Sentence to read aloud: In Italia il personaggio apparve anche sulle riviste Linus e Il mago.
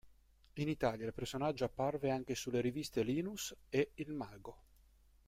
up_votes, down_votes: 0, 2